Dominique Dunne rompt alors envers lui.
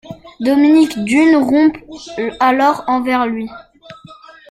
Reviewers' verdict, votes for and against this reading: rejected, 1, 2